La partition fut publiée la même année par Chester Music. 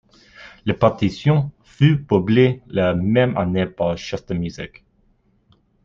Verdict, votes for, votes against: accepted, 2, 1